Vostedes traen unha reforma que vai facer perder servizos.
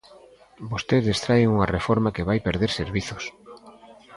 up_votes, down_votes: 0, 2